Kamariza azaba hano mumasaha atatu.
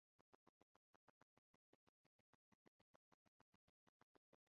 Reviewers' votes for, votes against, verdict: 0, 2, rejected